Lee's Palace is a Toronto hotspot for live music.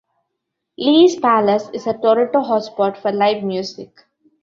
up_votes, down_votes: 1, 2